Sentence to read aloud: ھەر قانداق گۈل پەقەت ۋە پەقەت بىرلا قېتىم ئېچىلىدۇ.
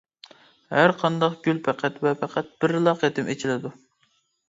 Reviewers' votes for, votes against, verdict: 2, 0, accepted